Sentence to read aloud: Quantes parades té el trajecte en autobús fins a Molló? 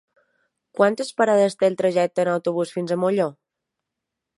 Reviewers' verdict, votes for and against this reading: accepted, 3, 0